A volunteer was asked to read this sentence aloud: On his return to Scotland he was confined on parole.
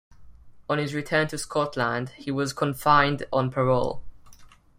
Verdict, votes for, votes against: rejected, 1, 2